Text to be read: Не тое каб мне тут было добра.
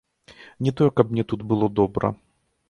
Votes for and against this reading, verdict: 2, 0, accepted